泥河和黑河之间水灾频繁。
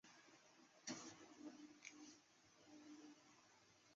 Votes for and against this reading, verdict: 0, 2, rejected